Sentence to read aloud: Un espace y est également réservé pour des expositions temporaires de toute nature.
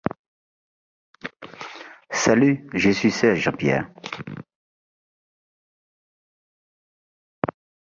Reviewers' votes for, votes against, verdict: 0, 2, rejected